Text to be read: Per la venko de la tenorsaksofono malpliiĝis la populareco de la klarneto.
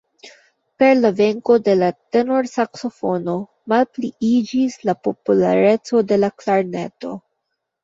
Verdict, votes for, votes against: accepted, 2, 1